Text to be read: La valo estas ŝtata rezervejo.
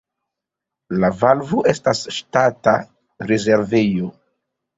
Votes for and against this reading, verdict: 0, 2, rejected